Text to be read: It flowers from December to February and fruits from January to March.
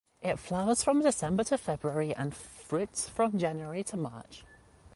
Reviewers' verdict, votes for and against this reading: accepted, 2, 0